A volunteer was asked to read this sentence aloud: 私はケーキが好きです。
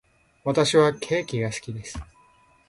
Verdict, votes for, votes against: accepted, 3, 0